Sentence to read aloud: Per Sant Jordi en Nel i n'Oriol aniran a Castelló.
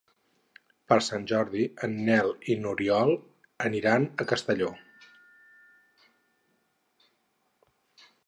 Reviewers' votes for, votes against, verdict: 8, 0, accepted